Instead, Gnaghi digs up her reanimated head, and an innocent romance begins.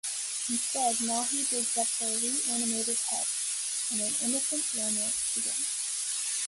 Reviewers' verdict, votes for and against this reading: rejected, 1, 2